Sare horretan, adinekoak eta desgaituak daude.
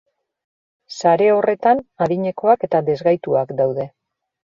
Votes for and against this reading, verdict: 2, 0, accepted